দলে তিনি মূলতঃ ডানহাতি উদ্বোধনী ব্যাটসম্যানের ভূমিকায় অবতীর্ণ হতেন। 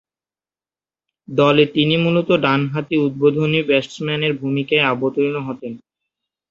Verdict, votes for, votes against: rejected, 4, 9